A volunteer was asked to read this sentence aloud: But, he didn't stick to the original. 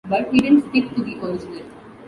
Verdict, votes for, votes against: accepted, 2, 1